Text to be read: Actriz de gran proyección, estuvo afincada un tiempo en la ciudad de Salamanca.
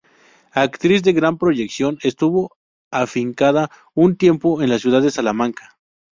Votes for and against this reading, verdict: 2, 2, rejected